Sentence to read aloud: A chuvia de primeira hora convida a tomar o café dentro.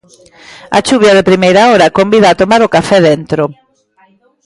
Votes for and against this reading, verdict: 2, 0, accepted